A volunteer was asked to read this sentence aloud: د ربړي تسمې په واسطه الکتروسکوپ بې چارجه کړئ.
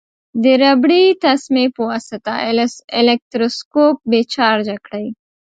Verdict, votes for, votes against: rejected, 1, 2